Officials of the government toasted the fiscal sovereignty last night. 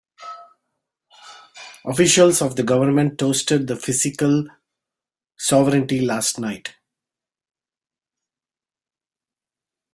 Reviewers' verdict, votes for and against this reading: rejected, 0, 2